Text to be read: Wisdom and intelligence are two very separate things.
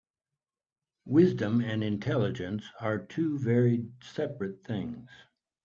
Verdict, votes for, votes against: accepted, 3, 1